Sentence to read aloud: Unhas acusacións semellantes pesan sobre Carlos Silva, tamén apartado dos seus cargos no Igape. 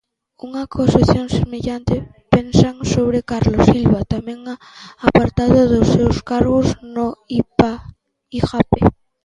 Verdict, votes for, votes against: rejected, 0, 2